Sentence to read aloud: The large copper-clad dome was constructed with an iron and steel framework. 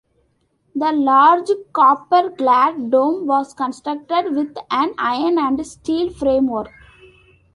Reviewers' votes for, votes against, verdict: 2, 0, accepted